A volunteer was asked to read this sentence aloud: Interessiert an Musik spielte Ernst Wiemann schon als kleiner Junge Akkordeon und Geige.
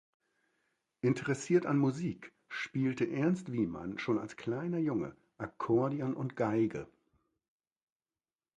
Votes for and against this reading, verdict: 2, 0, accepted